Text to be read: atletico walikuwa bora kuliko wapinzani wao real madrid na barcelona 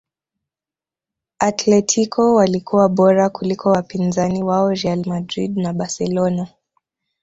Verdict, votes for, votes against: accepted, 2, 0